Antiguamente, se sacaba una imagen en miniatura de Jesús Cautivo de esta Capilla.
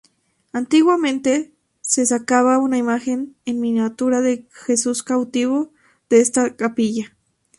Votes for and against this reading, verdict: 4, 0, accepted